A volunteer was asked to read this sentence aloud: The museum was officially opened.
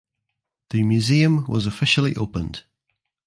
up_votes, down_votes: 2, 0